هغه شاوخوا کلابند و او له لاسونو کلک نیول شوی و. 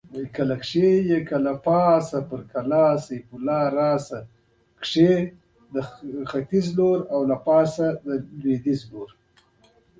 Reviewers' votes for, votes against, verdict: 0, 2, rejected